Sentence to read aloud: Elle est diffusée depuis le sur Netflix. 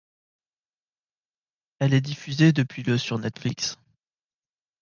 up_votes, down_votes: 2, 0